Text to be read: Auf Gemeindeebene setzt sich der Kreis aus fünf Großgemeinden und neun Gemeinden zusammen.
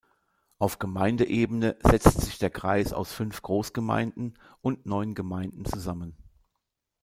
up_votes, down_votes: 2, 0